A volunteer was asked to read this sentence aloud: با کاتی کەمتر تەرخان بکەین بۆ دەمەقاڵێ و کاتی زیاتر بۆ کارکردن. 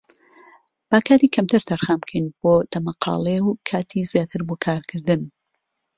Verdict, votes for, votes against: accepted, 2, 0